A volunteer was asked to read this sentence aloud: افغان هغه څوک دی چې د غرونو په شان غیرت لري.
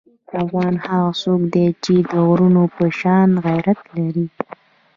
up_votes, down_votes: 2, 1